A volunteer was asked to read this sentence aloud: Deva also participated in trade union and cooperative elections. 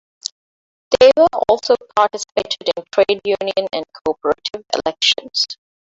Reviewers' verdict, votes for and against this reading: rejected, 0, 2